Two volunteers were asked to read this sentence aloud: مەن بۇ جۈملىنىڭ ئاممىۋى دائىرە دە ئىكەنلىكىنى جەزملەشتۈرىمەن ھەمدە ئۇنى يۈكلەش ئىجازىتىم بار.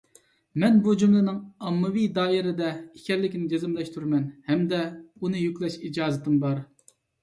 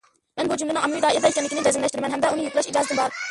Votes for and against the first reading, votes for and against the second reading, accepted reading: 2, 0, 0, 2, first